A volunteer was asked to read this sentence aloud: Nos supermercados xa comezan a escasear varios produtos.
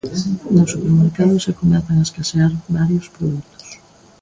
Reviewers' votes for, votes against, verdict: 2, 1, accepted